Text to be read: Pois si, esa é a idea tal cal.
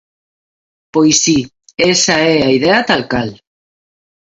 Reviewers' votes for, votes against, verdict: 2, 1, accepted